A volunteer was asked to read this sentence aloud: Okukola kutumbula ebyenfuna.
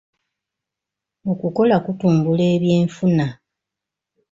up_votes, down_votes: 2, 0